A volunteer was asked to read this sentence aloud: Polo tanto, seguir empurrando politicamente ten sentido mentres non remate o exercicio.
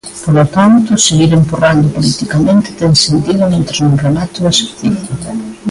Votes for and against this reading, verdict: 2, 0, accepted